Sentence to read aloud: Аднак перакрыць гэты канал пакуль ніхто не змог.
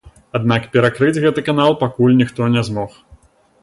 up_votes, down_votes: 2, 0